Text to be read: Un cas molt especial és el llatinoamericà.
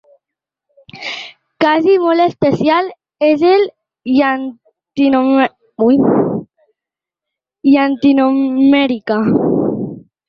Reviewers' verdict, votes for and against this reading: rejected, 0, 2